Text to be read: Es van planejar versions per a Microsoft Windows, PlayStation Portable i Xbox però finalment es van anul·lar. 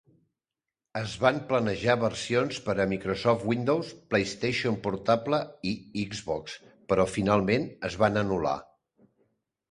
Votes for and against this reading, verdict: 0, 2, rejected